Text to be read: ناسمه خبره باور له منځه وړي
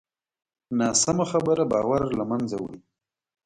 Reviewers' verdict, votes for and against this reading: accepted, 2, 1